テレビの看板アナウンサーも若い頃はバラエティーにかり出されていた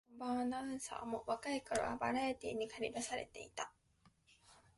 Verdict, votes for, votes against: rejected, 1, 2